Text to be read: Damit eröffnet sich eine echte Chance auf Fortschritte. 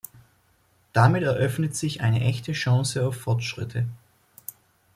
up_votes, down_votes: 2, 0